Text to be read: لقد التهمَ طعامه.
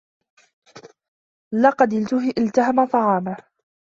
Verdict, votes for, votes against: rejected, 0, 2